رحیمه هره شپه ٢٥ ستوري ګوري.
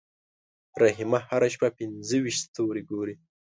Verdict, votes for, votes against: rejected, 0, 2